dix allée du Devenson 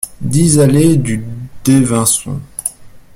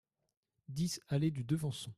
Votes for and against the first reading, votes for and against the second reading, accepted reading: 0, 2, 2, 0, second